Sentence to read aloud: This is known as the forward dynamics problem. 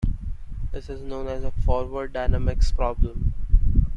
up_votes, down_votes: 2, 0